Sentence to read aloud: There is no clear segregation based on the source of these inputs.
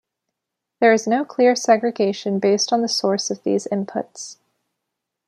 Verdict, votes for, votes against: accepted, 2, 0